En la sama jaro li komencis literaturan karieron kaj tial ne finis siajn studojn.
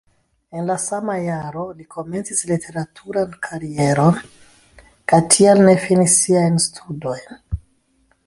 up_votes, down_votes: 2, 0